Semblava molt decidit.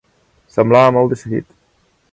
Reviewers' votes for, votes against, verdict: 2, 0, accepted